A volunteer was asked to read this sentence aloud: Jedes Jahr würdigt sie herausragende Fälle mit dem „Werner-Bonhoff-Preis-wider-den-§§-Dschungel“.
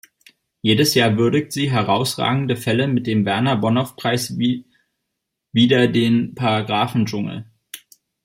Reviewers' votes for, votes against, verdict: 1, 2, rejected